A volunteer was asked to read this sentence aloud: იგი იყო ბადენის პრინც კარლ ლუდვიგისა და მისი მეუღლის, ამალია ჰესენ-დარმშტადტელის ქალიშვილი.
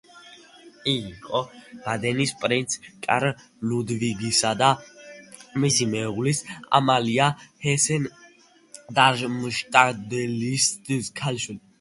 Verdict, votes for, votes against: rejected, 1, 2